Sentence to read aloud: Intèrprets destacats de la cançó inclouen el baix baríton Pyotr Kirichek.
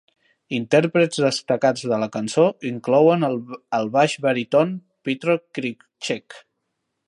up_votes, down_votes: 0, 2